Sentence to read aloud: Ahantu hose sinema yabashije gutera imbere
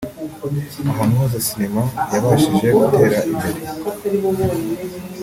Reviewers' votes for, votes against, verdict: 2, 0, accepted